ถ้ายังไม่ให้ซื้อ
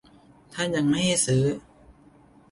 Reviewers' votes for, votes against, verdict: 2, 0, accepted